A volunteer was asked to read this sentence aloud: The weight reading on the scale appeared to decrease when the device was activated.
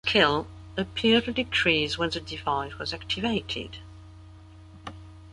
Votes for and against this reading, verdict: 0, 2, rejected